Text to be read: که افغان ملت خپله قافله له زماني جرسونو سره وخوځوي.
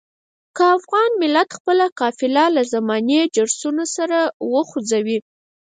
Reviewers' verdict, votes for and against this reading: rejected, 2, 4